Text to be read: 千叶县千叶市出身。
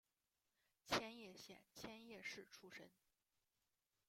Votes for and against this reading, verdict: 0, 2, rejected